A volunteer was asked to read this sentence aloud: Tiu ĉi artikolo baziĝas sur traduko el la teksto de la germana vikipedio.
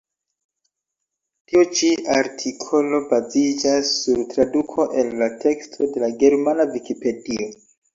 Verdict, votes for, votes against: accepted, 2, 0